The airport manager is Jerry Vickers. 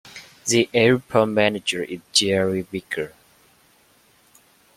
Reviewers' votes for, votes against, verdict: 0, 2, rejected